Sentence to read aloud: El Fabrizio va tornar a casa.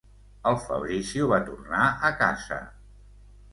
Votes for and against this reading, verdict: 2, 0, accepted